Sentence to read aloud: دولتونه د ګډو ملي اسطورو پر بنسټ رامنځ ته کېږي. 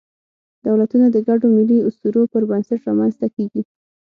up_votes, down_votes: 6, 0